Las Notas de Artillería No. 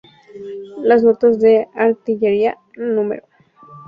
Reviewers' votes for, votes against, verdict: 2, 0, accepted